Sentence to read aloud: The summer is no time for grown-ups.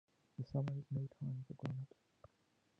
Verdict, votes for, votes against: rejected, 0, 2